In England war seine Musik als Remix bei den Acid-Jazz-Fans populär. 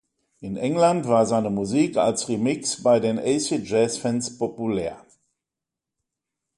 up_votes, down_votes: 2, 1